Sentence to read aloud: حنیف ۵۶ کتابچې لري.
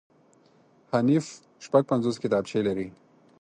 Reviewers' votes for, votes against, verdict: 0, 2, rejected